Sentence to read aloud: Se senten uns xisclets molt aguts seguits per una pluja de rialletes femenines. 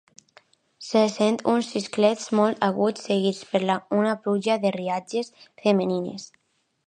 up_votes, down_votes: 0, 2